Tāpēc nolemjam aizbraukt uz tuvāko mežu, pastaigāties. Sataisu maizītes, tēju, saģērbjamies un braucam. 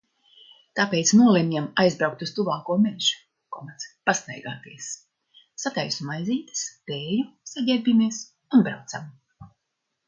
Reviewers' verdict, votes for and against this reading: rejected, 0, 2